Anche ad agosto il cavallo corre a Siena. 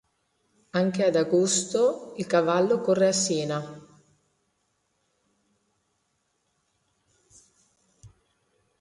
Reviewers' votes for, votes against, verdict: 2, 0, accepted